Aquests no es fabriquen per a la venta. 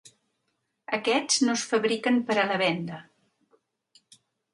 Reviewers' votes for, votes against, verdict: 3, 1, accepted